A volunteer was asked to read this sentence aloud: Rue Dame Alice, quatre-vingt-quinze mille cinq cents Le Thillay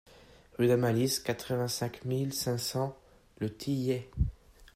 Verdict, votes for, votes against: rejected, 0, 2